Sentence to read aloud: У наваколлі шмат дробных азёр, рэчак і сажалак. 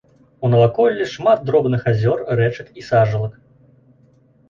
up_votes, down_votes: 2, 0